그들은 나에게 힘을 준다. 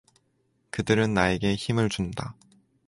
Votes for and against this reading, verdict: 4, 0, accepted